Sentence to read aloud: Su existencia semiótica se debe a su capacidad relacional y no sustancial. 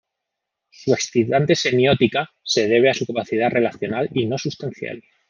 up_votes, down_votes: 0, 2